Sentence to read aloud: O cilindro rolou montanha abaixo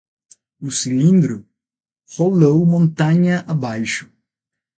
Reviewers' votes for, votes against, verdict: 0, 3, rejected